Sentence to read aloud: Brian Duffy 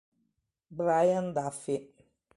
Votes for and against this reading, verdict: 2, 0, accepted